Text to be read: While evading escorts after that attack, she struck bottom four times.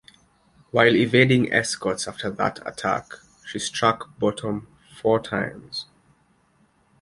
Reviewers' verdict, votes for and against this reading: accepted, 2, 0